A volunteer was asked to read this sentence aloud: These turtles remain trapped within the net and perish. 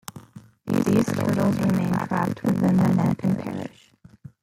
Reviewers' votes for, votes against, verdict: 0, 2, rejected